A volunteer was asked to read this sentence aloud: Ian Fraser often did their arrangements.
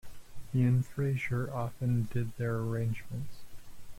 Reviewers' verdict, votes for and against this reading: rejected, 0, 2